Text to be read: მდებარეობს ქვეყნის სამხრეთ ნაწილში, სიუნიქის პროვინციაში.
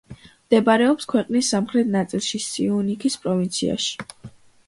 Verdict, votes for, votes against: accepted, 2, 0